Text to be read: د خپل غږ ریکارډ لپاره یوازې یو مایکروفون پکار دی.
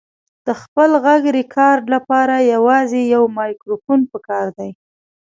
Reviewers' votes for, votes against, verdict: 1, 2, rejected